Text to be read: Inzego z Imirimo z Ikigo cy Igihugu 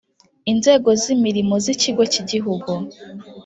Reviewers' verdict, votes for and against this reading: accepted, 4, 0